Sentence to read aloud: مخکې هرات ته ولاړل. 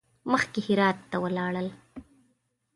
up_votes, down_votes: 2, 0